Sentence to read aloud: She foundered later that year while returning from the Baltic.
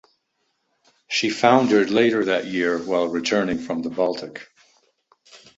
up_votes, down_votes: 2, 0